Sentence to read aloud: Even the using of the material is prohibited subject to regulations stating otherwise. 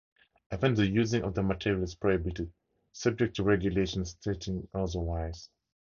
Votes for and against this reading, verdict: 2, 0, accepted